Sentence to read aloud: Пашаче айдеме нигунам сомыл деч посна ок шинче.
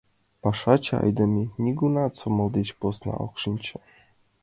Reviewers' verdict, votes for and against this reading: accepted, 2, 1